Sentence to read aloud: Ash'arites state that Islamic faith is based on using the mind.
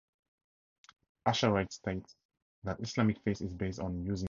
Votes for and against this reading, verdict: 0, 2, rejected